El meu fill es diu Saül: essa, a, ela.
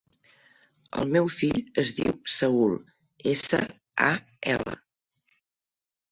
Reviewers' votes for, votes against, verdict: 0, 2, rejected